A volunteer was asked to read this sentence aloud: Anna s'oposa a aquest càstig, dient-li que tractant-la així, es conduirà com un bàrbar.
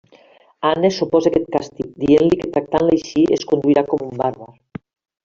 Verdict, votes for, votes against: rejected, 0, 2